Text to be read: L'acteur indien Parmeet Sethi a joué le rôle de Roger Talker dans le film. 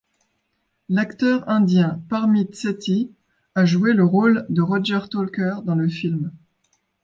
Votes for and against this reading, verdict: 2, 0, accepted